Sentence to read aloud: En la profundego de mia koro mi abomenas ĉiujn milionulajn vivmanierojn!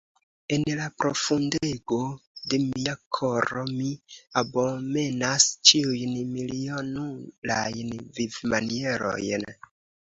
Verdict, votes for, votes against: accepted, 2, 0